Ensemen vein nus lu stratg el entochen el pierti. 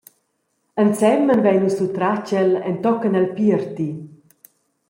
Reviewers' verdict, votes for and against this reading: accepted, 2, 0